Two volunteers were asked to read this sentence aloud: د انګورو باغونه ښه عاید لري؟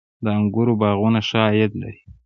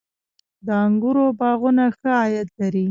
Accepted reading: first